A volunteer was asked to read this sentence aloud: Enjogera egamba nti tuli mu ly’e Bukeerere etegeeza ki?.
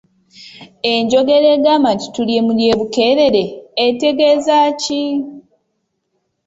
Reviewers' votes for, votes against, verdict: 2, 0, accepted